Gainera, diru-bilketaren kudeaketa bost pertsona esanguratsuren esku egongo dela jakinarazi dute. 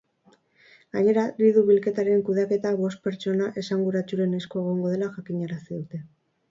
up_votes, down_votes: 2, 2